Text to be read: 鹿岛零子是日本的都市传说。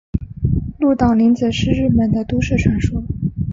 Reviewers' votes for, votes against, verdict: 2, 0, accepted